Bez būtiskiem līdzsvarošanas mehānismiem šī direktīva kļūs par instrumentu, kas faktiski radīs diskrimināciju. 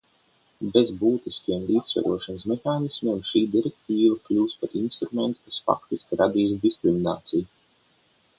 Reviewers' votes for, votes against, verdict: 0, 3, rejected